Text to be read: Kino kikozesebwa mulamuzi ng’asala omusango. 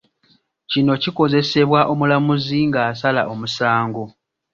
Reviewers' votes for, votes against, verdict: 1, 2, rejected